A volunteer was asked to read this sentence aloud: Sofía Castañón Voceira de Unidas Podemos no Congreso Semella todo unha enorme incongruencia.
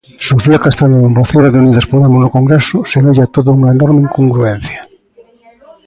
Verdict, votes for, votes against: accepted, 2, 0